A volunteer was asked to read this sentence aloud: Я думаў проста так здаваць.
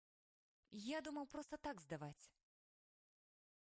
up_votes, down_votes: 1, 2